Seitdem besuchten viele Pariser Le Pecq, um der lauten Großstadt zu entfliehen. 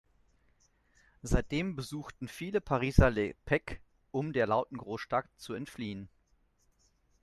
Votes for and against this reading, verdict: 0, 2, rejected